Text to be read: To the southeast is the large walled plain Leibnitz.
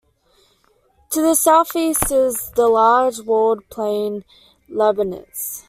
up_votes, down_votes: 2, 1